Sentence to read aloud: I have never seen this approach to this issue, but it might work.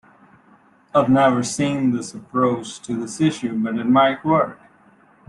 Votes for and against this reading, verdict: 1, 2, rejected